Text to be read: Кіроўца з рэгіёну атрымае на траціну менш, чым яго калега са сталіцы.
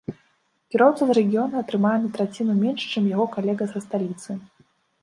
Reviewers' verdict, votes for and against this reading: rejected, 1, 2